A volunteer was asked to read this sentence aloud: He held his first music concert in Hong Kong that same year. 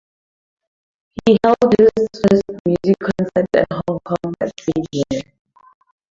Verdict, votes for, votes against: rejected, 0, 4